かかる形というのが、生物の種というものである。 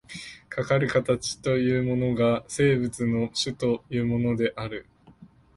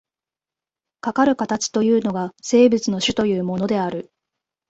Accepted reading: second